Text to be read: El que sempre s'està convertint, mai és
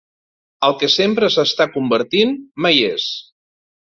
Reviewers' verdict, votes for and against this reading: accepted, 2, 0